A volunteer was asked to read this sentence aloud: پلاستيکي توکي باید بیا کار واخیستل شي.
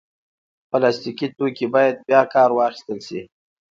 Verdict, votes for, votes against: rejected, 0, 2